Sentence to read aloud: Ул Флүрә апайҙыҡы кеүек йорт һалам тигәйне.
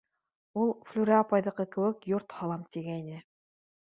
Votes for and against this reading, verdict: 2, 0, accepted